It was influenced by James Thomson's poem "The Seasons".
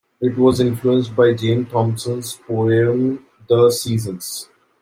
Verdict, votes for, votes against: rejected, 0, 2